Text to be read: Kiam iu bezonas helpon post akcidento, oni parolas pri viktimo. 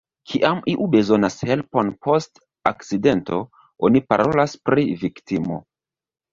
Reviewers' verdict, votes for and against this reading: accepted, 2, 0